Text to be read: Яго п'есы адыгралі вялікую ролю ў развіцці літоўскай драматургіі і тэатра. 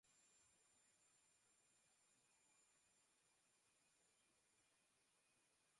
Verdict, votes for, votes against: rejected, 0, 2